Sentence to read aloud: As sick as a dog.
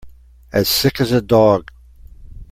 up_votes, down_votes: 2, 0